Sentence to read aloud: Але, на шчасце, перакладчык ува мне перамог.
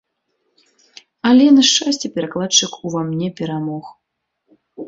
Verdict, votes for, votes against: accepted, 2, 0